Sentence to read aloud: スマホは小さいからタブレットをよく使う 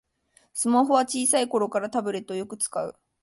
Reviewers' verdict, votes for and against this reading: rejected, 1, 2